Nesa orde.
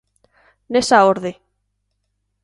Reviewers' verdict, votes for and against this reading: accepted, 2, 0